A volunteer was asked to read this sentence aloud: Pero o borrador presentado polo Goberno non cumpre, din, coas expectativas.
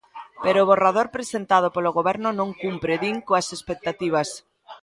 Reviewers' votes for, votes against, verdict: 2, 0, accepted